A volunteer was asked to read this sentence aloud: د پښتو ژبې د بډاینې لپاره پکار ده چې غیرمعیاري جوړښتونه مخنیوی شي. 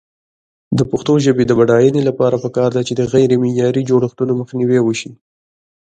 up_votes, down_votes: 2, 1